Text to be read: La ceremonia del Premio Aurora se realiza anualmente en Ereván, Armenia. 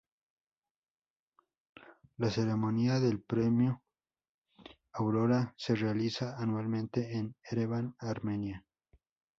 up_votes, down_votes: 2, 0